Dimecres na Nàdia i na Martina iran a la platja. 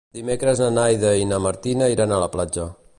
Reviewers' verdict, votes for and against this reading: rejected, 1, 2